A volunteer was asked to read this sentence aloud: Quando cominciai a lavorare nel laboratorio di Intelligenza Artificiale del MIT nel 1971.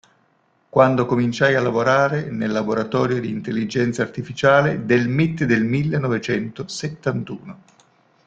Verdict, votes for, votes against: rejected, 0, 2